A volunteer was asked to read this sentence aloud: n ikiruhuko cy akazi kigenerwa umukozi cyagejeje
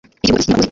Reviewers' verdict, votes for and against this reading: rejected, 0, 2